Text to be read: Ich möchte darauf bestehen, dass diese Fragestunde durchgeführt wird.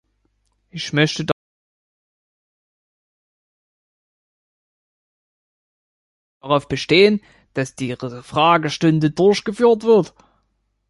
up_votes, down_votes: 0, 2